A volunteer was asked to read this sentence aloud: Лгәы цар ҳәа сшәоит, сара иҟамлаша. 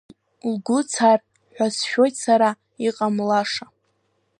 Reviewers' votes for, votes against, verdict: 2, 1, accepted